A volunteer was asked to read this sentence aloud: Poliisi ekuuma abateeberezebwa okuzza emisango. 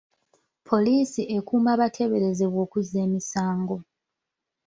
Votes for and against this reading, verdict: 0, 2, rejected